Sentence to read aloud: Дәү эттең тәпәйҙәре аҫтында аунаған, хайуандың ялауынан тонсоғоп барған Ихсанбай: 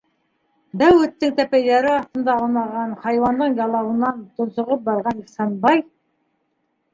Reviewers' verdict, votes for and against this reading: accepted, 2, 1